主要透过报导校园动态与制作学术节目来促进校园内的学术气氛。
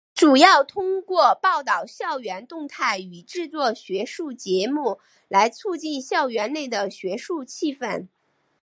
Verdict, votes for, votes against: accepted, 4, 0